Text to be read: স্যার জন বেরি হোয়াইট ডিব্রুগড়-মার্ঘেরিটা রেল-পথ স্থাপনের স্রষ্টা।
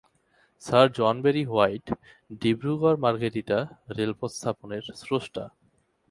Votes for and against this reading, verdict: 11, 1, accepted